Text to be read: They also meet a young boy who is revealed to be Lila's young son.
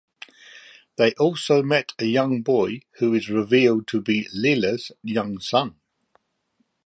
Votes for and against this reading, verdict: 0, 2, rejected